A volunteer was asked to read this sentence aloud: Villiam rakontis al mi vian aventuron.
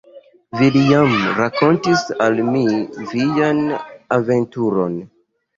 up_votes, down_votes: 2, 1